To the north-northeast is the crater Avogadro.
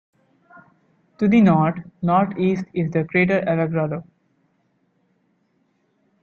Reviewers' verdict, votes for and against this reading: rejected, 1, 2